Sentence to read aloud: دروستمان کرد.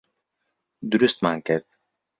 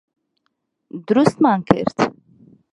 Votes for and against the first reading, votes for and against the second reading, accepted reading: 2, 0, 0, 2, first